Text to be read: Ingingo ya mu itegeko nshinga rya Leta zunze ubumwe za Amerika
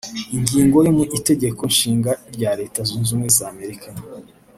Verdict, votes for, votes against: rejected, 1, 2